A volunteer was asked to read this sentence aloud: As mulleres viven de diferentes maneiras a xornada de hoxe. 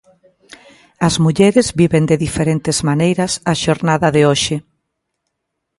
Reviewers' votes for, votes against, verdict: 2, 0, accepted